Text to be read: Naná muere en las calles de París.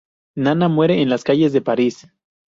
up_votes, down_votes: 2, 0